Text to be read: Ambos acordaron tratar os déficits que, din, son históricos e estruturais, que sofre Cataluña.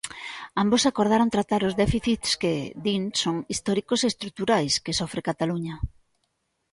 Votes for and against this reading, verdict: 2, 0, accepted